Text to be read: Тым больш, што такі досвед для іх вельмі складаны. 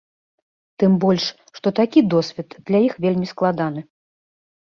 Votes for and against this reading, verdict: 1, 2, rejected